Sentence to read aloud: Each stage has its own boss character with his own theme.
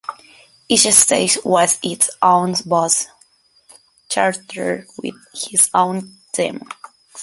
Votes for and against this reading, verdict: 2, 0, accepted